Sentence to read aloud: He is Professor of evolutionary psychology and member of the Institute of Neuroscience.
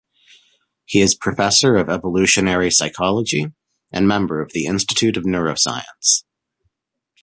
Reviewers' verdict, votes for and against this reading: accepted, 2, 1